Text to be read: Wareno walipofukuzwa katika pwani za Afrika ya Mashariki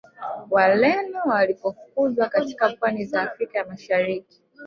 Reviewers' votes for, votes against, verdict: 0, 2, rejected